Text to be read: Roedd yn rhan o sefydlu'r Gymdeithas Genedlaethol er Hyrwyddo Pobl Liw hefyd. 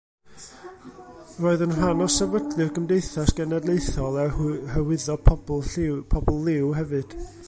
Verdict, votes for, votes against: rejected, 0, 2